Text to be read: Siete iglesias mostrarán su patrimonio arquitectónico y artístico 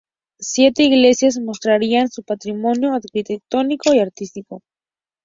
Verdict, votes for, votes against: rejected, 0, 4